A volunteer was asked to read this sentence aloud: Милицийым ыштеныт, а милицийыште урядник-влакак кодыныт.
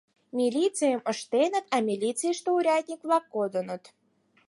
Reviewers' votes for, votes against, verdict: 4, 6, rejected